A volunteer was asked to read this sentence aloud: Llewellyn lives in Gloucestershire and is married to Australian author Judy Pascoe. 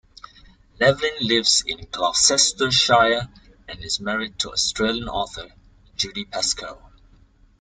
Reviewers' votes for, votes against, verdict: 1, 2, rejected